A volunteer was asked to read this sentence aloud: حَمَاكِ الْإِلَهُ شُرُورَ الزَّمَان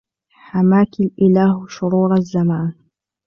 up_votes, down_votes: 2, 0